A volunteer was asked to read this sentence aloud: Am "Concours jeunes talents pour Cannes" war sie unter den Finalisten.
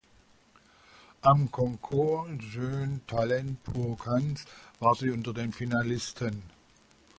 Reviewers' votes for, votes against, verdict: 1, 2, rejected